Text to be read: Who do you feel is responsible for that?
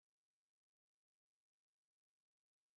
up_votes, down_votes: 0, 2